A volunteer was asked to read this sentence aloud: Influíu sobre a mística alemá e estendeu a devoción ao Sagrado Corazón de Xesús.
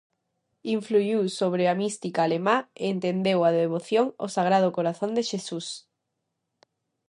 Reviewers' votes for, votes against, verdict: 0, 2, rejected